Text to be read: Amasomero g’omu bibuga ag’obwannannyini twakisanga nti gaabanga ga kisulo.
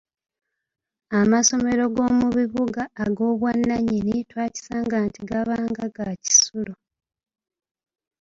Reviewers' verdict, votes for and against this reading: accepted, 2, 1